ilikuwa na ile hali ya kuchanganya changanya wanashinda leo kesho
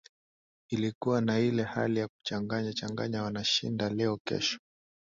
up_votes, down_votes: 2, 0